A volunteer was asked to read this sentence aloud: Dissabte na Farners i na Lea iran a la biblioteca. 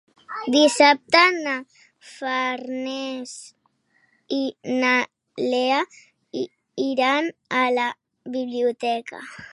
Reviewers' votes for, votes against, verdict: 3, 1, accepted